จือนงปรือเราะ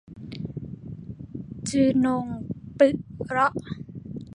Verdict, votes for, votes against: rejected, 0, 2